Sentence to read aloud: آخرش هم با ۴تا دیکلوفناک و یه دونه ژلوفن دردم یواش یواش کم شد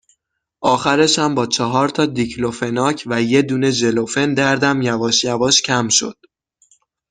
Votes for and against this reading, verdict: 0, 2, rejected